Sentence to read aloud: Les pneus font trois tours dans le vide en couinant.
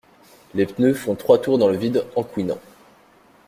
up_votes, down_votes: 2, 0